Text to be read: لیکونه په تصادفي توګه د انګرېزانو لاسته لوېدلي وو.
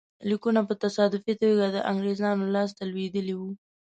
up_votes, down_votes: 2, 0